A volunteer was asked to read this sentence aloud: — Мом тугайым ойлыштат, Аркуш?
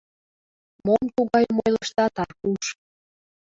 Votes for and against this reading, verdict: 2, 0, accepted